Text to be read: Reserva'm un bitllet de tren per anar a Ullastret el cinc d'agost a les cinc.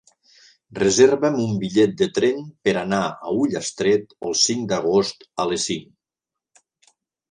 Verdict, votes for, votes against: accepted, 3, 0